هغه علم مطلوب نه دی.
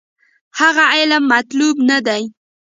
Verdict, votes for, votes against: rejected, 0, 2